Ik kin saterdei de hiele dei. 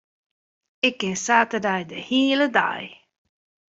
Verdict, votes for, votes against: accepted, 2, 0